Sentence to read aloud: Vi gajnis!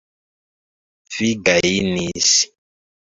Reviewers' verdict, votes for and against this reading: rejected, 1, 2